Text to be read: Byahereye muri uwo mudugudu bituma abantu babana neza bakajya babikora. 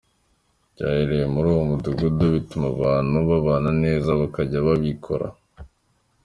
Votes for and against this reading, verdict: 2, 0, accepted